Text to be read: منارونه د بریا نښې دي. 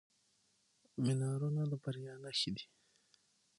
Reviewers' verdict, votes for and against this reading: accepted, 6, 0